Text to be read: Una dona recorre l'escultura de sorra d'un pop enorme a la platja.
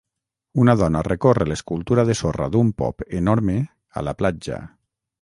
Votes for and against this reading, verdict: 3, 0, accepted